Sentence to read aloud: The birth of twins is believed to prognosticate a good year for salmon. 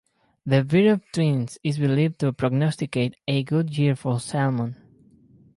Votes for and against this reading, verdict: 2, 4, rejected